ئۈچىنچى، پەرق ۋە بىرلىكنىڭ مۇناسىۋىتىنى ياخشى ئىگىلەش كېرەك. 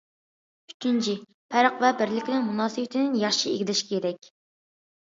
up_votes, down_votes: 2, 0